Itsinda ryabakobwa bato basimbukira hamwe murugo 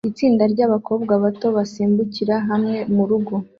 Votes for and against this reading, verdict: 2, 0, accepted